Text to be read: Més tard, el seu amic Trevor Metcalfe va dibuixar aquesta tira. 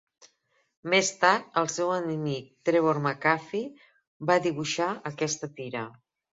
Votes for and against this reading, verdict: 1, 3, rejected